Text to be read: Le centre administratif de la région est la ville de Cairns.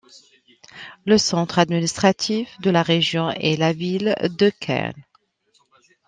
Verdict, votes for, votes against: accepted, 2, 1